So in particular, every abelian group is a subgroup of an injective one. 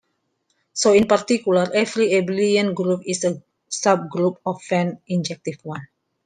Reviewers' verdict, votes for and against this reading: rejected, 1, 2